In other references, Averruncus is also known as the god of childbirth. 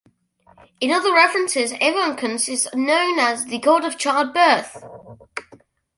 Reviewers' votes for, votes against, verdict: 0, 2, rejected